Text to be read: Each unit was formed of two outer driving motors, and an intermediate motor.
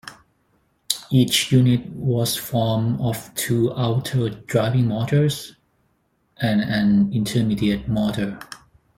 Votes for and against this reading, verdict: 0, 4, rejected